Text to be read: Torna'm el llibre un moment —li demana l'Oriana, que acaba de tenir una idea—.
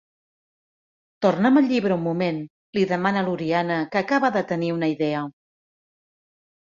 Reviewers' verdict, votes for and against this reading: accepted, 2, 0